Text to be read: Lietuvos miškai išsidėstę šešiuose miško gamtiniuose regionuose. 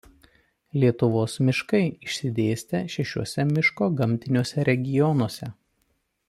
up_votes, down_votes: 2, 0